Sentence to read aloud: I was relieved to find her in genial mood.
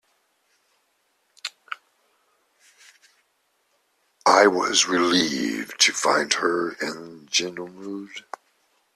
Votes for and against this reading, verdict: 1, 3, rejected